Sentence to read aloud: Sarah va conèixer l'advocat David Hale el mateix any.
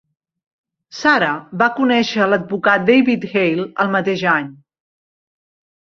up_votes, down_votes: 3, 1